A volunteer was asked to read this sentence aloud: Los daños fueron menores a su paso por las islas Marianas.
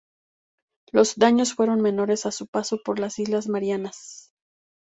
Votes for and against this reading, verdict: 2, 0, accepted